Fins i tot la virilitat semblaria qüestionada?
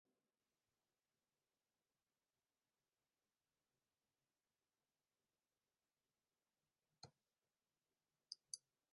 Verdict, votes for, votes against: rejected, 0, 2